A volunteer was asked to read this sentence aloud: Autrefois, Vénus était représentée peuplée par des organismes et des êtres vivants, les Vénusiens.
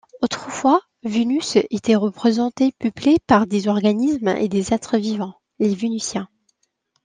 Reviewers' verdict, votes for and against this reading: accepted, 2, 0